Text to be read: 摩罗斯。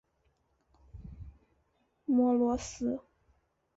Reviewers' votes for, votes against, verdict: 2, 1, accepted